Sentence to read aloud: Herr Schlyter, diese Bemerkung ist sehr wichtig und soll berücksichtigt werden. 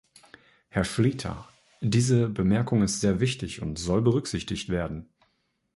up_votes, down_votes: 2, 0